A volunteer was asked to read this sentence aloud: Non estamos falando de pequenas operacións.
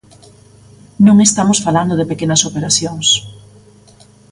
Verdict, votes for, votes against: accepted, 2, 0